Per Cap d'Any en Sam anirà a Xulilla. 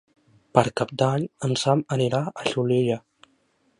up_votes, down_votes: 2, 0